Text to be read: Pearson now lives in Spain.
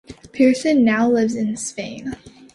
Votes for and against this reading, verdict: 2, 0, accepted